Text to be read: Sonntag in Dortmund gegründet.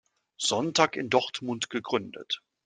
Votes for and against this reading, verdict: 2, 0, accepted